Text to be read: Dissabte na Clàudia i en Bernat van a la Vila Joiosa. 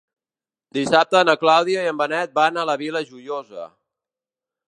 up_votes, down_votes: 1, 2